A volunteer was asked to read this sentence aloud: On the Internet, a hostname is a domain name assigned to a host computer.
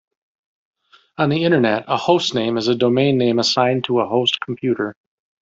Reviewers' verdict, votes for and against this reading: rejected, 1, 2